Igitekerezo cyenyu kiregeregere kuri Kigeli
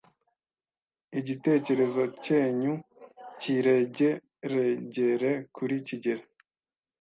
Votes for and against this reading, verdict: 1, 2, rejected